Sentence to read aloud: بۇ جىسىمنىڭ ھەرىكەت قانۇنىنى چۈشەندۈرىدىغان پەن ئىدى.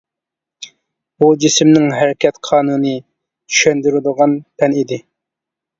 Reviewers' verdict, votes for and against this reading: rejected, 0, 2